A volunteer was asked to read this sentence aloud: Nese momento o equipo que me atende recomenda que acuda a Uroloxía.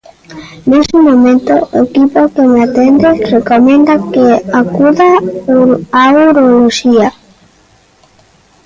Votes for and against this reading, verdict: 0, 2, rejected